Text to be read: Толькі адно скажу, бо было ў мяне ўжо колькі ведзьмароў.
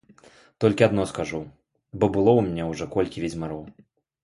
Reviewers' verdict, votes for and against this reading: accepted, 2, 0